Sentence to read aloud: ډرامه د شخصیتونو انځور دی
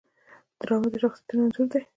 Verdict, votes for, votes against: rejected, 0, 2